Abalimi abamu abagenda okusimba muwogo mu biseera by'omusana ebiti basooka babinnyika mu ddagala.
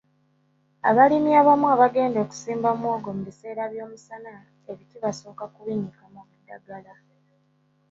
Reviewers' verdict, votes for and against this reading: rejected, 1, 2